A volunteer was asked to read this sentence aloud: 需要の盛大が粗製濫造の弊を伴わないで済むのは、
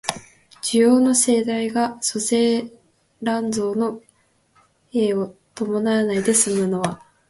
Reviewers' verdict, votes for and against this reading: accepted, 2, 0